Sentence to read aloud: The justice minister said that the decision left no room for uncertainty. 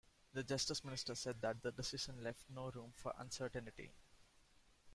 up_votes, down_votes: 0, 2